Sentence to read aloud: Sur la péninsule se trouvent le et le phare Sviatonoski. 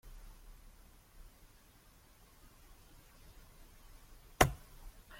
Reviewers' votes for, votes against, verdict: 0, 2, rejected